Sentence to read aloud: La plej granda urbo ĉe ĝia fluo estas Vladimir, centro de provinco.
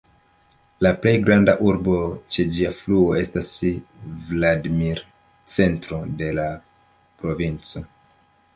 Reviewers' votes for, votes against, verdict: 1, 2, rejected